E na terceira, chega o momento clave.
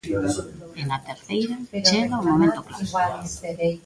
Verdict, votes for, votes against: rejected, 1, 2